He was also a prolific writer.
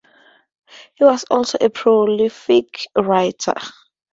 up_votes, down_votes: 2, 2